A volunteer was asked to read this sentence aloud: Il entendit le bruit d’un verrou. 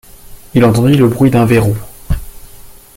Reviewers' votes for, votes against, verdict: 2, 0, accepted